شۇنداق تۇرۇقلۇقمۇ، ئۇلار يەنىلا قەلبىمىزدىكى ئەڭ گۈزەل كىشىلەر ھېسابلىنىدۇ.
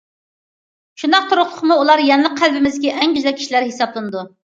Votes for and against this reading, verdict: 2, 0, accepted